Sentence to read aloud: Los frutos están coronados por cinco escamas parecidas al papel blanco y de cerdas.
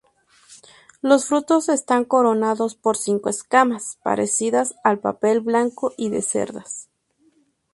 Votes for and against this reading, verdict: 2, 0, accepted